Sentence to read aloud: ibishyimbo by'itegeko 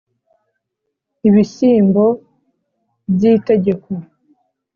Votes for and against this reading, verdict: 2, 0, accepted